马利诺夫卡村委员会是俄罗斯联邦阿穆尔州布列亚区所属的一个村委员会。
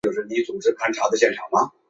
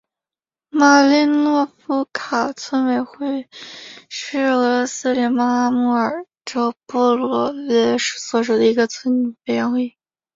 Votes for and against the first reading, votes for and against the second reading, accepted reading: 1, 3, 4, 2, second